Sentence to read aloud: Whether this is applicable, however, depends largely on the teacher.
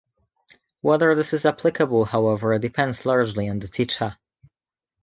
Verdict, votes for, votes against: accepted, 2, 0